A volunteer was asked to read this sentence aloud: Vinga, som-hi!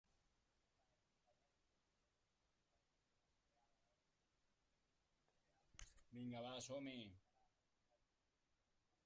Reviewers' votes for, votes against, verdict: 0, 2, rejected